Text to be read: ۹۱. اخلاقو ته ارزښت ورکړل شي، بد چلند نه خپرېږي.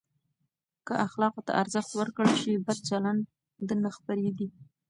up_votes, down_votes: 0, 2